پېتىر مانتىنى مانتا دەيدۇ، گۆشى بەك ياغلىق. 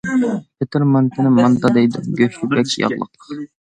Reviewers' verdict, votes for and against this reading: rejected, 1, 2